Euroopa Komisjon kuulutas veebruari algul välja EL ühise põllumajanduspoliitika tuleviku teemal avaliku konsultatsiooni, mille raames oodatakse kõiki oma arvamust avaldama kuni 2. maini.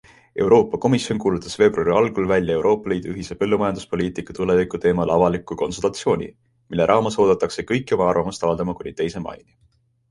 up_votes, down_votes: 0, 2